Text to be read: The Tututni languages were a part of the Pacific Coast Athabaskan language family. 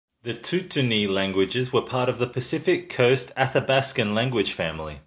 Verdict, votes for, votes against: accepted, 2, 0